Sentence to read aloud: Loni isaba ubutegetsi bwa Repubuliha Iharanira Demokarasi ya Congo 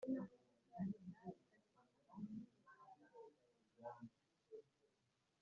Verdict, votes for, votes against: rejected, 0, 2